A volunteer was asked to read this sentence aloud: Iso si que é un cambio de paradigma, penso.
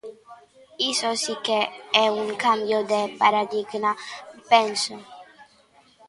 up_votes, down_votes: 1, 2